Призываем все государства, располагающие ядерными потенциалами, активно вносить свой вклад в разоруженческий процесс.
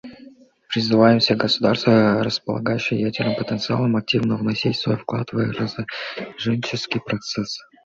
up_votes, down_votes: 2, 0